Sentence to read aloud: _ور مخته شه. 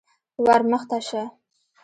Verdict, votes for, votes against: rejected, 0, 2